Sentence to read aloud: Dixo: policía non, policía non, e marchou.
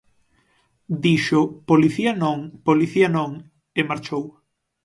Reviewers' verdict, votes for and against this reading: accepted, 9, 0